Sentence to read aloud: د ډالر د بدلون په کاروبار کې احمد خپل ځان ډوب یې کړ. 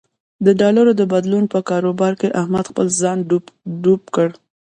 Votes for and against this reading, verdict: 0, 2, rejected